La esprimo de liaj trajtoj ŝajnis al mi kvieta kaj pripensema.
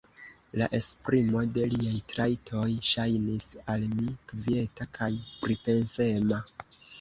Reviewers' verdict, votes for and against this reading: rejected, 0, 2